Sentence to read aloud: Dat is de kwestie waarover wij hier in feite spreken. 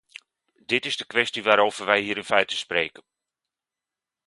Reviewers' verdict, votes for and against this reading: rejected, 1, 2